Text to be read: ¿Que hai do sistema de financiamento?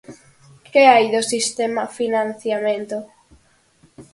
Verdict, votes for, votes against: rejected, 0, 4